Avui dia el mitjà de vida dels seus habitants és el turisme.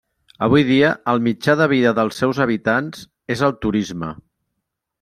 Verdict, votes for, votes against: accepted, 3, 0